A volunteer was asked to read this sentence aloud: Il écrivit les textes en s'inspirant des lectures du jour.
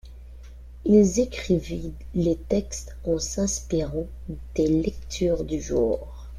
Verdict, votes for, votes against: rejected, 0, 2